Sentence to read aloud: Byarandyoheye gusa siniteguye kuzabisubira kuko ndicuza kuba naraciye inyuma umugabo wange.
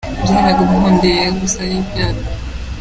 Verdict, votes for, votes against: rejected, 0, 2